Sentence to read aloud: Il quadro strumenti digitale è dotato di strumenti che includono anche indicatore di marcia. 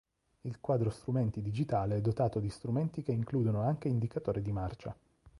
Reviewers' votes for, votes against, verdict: 3, 0, accepted